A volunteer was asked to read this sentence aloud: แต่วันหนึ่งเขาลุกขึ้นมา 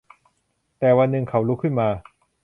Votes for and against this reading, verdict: 2, 0, accepted